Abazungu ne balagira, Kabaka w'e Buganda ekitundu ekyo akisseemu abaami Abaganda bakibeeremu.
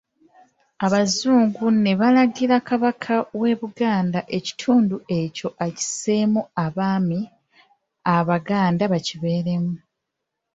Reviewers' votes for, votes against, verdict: 2, 0, accepted